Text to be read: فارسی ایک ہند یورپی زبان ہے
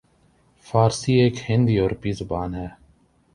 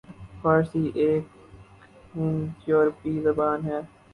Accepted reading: first